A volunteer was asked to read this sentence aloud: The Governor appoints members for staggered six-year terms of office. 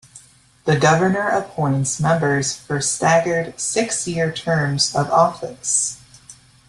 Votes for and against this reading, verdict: 2, 0, accepted